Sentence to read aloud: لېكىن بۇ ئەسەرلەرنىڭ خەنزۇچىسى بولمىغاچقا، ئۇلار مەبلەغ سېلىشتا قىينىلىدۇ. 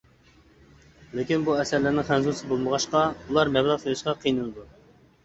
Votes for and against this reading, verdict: 0, 2, rejected